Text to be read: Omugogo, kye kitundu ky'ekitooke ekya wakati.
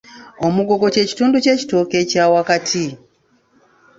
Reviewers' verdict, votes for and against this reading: rejected, 1, 2